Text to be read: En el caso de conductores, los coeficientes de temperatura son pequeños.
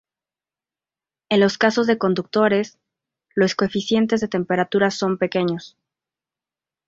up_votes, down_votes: 0, 2